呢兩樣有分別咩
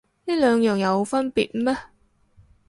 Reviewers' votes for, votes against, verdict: 4, 0, accepted